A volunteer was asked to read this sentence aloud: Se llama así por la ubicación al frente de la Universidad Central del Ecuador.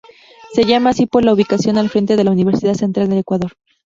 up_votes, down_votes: 0, 4